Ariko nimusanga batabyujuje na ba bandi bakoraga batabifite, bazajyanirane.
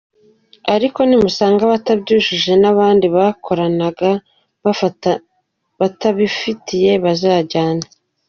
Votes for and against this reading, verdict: 0, 2, rejected